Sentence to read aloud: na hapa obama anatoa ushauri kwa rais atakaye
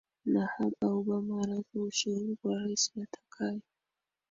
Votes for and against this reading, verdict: 2, 1, accepted